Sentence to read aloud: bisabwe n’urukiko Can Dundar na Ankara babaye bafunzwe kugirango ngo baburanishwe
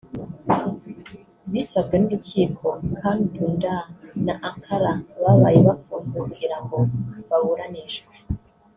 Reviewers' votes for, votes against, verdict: 0, 2, rejected